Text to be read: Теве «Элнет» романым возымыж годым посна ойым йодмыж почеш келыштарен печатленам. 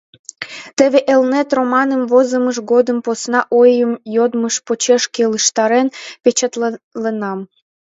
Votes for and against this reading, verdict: 0, 2, rejected